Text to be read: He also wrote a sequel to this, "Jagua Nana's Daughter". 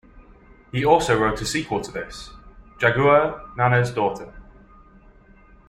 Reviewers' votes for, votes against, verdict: 2, 0, accepted